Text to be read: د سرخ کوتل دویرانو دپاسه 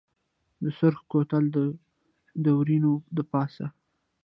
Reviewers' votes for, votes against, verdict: 1, 2, rejected